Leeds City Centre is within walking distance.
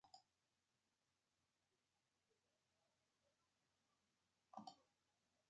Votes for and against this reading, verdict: 0, 2, rejected